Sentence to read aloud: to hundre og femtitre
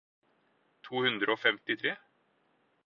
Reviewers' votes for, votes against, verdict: 4, 0, accepted